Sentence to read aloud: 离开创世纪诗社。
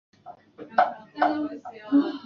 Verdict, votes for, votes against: rejected, 0, 2